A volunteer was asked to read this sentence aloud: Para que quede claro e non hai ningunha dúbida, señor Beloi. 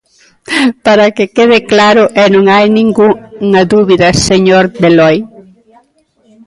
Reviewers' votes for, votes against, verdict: 0, 2, rejected